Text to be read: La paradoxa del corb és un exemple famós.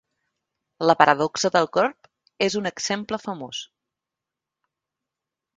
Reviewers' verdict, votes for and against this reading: accepted, 3, 0